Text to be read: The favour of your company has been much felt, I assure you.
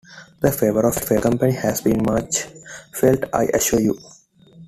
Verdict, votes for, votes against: rejected, 0, 2